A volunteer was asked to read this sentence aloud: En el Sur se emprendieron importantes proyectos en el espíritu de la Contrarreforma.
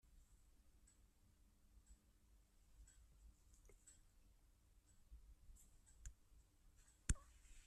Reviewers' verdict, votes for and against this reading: rejected, 0, 2